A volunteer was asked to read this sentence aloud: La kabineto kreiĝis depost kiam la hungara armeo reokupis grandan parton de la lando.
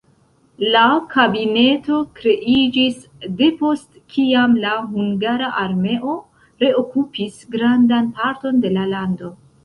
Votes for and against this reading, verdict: 2, 1, accepted